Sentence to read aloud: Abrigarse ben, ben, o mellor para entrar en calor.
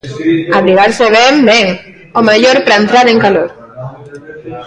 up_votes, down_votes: 0, 2